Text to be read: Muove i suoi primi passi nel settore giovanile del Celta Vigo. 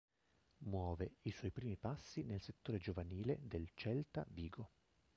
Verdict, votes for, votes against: rejected, 1, 2